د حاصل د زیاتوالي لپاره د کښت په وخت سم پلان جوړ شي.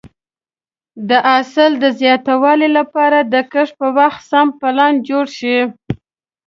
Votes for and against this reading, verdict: 2, 0, accepted